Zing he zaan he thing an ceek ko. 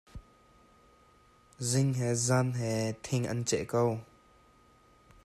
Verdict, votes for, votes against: rejected, 1, 2